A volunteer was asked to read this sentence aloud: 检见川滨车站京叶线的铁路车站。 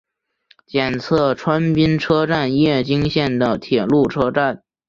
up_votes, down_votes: 3, 4